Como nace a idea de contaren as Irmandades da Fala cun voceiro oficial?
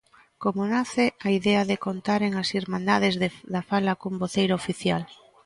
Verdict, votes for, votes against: rejected, 0, 2